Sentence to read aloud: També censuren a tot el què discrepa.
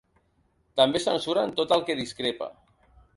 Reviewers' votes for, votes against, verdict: 0, 2, rejected